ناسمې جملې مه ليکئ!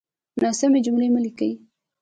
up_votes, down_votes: 2, 0